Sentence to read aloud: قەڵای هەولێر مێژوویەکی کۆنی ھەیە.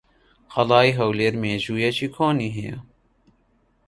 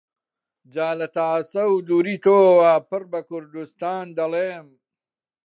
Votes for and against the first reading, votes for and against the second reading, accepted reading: 2, 0, 0, 2, first